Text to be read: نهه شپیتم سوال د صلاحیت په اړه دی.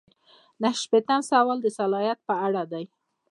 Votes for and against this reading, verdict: 0, 2, rejected